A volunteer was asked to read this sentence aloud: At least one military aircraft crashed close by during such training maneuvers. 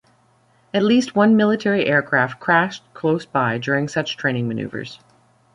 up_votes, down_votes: 2, 0